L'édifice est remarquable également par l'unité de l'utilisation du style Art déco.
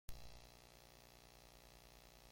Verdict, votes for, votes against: rejected, 0, 2